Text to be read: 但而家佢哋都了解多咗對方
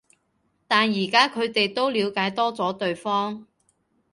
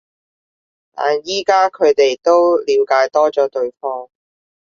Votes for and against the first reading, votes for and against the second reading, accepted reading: 2, 0, 1, 2, first